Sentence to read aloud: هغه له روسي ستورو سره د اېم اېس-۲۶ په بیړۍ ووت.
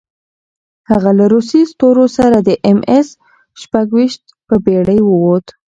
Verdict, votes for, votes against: rejected, 0, 2